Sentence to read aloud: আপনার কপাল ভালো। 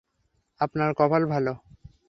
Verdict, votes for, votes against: rejected, 0, 3